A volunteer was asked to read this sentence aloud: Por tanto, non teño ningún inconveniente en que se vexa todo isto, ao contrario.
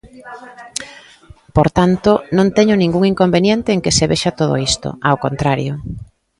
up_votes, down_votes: 2, 0